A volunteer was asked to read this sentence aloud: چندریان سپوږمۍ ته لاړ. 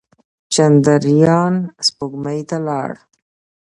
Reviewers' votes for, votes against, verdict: 2, 0, accepted